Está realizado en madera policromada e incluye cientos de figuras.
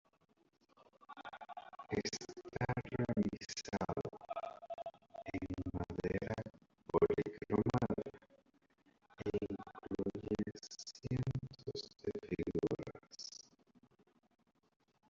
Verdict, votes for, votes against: rejected, 0, 2